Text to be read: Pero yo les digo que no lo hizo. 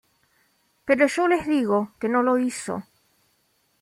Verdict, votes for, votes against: accepted, 2, 0